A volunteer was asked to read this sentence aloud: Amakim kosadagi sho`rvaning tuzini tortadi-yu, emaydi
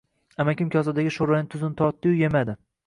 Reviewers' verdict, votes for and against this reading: rejected, 1, 2